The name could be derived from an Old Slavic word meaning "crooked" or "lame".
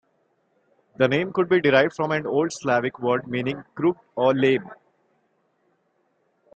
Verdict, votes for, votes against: accepted, 2, 0